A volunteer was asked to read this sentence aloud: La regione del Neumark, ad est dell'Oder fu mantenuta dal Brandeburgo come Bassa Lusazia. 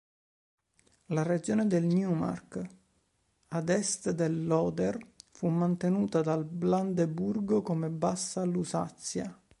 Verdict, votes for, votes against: rejected, 1, 2